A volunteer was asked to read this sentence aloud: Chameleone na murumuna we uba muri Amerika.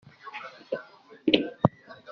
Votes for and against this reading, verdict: 0, 2, rejected